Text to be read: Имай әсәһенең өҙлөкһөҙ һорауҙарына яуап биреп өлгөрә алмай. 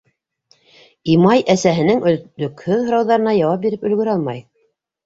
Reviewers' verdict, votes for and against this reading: rejected, 0, 2